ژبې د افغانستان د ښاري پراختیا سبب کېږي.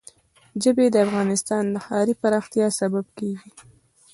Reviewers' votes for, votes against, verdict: 1, 2, rejected